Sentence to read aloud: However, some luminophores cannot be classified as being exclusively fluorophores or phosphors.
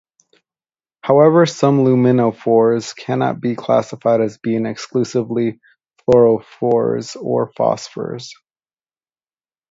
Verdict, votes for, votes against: rejected, 2, 2